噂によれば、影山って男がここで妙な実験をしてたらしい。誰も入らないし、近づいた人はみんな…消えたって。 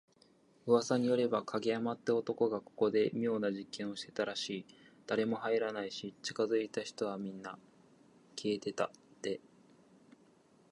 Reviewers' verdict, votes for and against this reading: rejected, 1, 2